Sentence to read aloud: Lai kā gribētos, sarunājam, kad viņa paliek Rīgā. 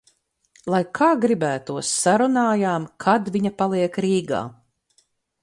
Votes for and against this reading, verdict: 4, 2, accepted